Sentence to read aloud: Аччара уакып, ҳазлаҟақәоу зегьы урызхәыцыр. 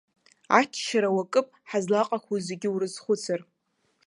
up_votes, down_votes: 2, 0